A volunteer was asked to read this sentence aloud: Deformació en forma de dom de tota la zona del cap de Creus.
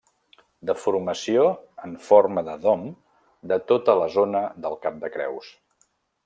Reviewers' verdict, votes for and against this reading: accepted, 2, 0